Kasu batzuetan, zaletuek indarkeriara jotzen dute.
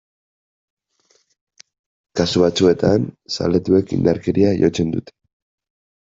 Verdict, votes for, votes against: rejected, 0, 2